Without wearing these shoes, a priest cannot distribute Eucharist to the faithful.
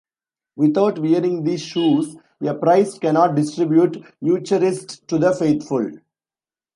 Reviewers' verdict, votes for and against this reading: rejected, 0, 2